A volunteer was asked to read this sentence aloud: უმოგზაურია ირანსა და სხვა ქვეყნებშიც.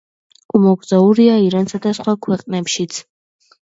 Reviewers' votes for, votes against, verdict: 2, 0, accepted